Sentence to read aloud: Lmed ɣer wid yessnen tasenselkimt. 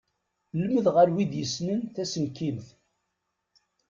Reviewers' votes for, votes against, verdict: 0, 2, rejected